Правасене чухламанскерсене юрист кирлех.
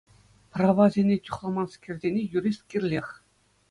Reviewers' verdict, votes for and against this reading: accepted, 2, 0